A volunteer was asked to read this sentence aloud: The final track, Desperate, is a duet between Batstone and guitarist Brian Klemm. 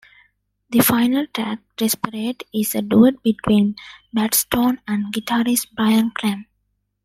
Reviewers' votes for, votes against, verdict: 2, 1, accepted